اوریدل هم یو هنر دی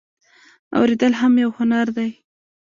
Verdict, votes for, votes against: rejected, 1, 2